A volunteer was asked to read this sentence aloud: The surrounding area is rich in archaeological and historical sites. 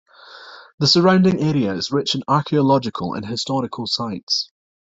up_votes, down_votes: 2, 0